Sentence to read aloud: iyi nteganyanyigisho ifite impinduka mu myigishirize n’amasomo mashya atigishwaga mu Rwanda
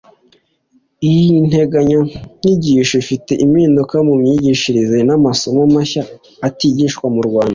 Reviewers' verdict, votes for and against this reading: accepted, 2, 1